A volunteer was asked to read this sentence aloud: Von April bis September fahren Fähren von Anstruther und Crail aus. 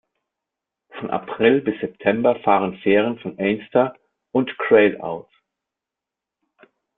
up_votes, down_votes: 2, 3